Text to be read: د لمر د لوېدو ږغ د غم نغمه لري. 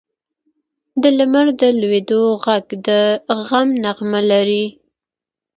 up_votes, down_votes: 2, 1